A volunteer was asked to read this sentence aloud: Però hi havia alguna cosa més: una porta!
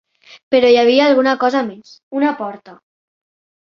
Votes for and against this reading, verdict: 3, 0, accepted